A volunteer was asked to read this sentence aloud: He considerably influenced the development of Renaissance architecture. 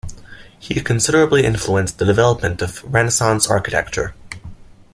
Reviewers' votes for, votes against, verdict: 2, 0, accepted